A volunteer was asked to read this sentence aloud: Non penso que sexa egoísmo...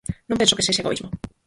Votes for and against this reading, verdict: 0, 4, rejected